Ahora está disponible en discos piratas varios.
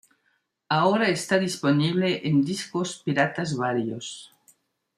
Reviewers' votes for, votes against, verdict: 2, 0, accepted